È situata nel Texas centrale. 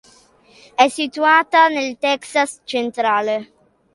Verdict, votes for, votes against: accepted, 2, 0